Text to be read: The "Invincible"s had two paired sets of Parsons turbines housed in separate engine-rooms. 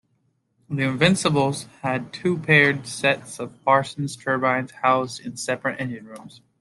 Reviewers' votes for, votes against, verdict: 2, 0, accepted